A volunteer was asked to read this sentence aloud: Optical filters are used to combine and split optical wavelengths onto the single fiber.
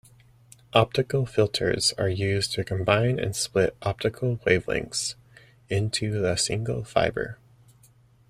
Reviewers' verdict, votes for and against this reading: rejected, 0, 2